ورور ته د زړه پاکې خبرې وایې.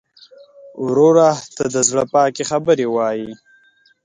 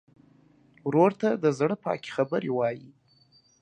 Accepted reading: second